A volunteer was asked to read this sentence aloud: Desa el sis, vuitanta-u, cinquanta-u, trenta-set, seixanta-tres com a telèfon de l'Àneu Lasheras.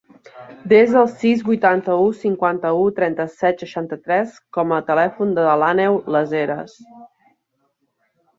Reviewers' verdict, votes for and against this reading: accepted, 2, 1